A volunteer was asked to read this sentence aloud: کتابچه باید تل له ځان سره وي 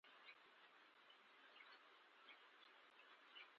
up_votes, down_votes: 0, 2